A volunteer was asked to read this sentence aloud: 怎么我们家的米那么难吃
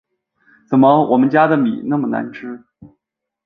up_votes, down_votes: 4, 0